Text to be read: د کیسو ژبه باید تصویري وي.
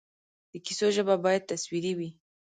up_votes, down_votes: 1, 2